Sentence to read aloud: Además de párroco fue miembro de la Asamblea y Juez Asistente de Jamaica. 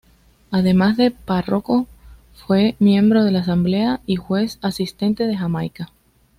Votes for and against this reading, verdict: 2, 0, accepted